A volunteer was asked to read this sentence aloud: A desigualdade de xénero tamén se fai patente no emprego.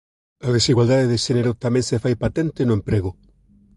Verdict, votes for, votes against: accepted, 2, 0